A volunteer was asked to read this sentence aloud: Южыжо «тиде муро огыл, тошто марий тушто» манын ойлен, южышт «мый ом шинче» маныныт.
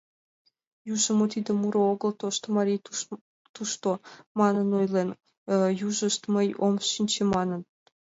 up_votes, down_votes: 1, 2